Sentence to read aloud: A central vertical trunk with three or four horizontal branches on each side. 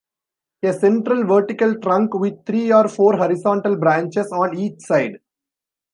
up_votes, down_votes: 2, 0